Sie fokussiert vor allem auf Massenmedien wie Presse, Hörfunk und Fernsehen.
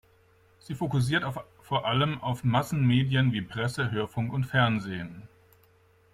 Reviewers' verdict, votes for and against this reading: rejected, 1, 2